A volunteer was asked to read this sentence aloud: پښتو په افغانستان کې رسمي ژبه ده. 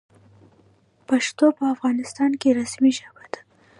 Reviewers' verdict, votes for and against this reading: rejected, 1, 2